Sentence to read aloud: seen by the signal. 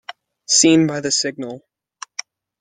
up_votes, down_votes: 2, 0